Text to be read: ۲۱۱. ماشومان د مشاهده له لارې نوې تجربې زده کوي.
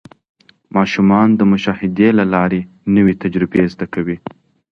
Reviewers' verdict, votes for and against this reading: rejected, 0, 2